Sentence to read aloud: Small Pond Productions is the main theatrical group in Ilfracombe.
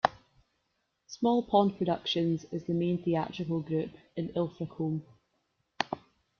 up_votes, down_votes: 2, 0